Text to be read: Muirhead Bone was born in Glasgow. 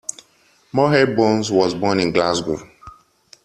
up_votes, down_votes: 0, 2